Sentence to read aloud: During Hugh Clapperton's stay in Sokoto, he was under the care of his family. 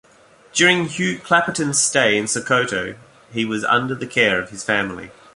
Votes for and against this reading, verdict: 2, 0, accepted